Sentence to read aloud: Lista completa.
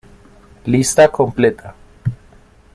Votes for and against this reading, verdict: 1, 2, rejected